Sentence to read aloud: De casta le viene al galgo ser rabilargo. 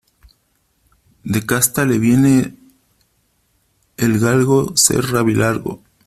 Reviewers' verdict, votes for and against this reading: rejected, 1, 2